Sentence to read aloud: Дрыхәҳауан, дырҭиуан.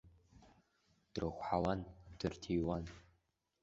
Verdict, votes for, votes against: rejected, 1, 2